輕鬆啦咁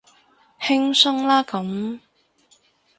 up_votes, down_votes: 0, 2